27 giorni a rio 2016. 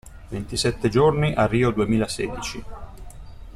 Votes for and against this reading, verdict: 0, 2, rejected